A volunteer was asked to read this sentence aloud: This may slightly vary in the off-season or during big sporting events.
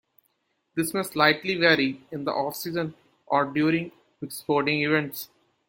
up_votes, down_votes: 1, 2